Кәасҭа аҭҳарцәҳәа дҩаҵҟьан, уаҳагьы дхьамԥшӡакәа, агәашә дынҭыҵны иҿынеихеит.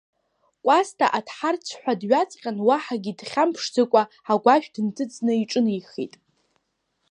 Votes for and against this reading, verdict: 2, 0, accepted